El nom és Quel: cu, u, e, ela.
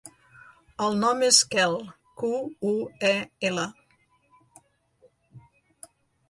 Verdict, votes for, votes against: accepted, 2, 0